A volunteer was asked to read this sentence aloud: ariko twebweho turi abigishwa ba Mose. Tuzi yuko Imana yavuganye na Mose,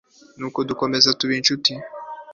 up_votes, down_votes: 0, 2